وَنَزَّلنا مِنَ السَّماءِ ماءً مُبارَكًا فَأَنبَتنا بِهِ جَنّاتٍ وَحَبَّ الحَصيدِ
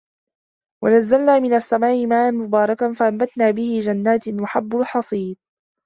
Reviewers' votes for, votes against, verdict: 1, 2, rejected